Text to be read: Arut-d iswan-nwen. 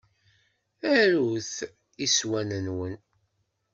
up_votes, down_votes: 1, 2